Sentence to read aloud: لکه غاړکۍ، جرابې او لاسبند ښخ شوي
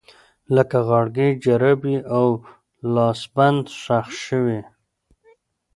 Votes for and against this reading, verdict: 2, 0, accepted